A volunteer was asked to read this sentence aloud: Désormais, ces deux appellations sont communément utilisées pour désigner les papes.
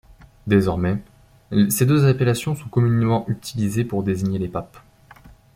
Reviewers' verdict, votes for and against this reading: rejected, 1, 2